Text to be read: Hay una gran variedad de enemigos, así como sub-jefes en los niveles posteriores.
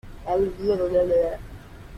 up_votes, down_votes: 0, 2